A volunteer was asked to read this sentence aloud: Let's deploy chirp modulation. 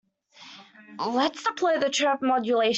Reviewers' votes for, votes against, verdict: 1, 2, rejected